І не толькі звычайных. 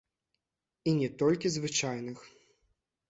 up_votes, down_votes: 1, 2